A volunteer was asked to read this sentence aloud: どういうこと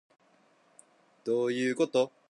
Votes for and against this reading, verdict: 2, 0, accepted